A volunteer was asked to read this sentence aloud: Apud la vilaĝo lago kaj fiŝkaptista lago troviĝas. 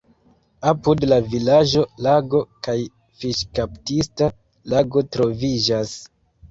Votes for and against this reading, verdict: 1, 2, rejected